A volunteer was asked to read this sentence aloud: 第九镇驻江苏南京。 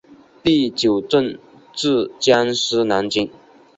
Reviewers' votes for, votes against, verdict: 4, 0, accepted